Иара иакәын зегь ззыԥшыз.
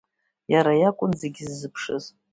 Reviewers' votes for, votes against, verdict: 2, 0, accepted